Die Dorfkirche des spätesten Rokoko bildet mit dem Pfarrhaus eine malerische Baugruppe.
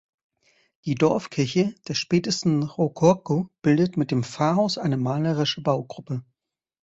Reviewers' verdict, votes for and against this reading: rejected, 1, 2